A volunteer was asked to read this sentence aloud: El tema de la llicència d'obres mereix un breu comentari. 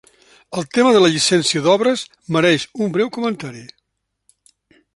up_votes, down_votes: 3, 0